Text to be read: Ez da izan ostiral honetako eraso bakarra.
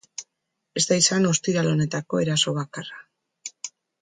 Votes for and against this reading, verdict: 2, 0, accepted